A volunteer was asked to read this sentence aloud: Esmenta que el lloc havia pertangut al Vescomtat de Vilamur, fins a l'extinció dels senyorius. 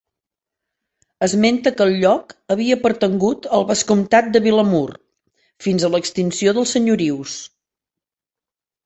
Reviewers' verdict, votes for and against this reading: accepted, 2, 0